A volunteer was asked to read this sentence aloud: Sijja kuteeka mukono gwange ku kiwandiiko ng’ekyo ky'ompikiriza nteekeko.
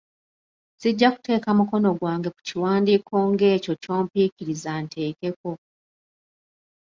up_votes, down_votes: 0, 2